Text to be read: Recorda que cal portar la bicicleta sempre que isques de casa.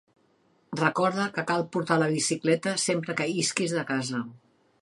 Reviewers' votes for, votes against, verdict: 7, 1, accepted